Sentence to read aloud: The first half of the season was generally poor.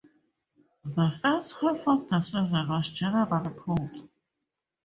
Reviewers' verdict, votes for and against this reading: rejected, 2, 2